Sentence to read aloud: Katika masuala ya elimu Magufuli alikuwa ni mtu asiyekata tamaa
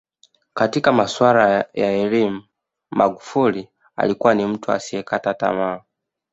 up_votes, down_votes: 0, 2